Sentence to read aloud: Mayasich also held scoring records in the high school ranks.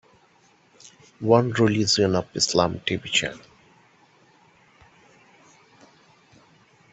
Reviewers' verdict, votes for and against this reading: rejected, 0, 2